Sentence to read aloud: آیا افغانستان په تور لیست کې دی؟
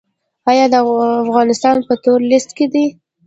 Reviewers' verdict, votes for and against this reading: accepted, 2, 0